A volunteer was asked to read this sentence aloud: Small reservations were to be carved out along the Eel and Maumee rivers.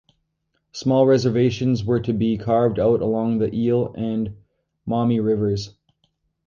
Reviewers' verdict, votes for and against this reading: rejected, 0, 2